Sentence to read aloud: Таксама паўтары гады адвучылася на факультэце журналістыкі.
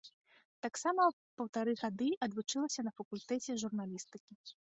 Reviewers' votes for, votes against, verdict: 2, 0, accepted